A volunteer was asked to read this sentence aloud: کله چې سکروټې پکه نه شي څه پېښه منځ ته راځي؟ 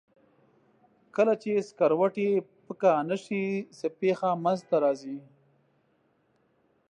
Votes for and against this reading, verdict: 2, 0, accepted